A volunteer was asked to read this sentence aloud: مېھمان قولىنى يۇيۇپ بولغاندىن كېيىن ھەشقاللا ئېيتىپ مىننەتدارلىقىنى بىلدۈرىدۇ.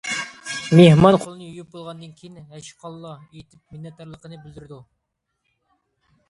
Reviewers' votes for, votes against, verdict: 2, 0, accepted